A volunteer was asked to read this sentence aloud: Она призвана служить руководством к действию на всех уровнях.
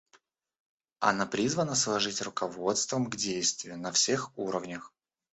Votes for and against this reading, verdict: 0, 2, rejected